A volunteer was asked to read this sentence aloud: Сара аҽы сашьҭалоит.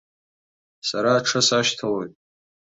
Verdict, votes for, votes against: accepted, 2, 0